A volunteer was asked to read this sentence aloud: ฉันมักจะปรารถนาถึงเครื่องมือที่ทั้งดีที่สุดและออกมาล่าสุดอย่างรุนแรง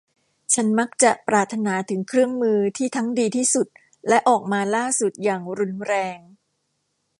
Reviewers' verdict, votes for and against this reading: accepted, 2, 0